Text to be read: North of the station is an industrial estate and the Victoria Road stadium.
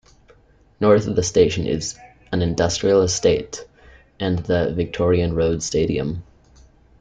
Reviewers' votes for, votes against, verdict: 0, 2, rejected